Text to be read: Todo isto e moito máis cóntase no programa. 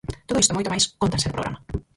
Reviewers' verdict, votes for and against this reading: rejected, 0, 4